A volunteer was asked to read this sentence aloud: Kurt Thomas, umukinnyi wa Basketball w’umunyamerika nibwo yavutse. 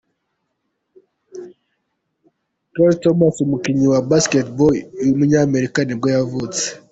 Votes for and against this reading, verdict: 2, 1, accepted